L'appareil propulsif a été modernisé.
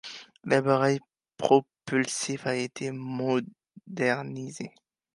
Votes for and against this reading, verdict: 0, 2, rejected